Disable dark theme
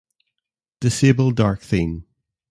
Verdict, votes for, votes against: accepted, 2, 1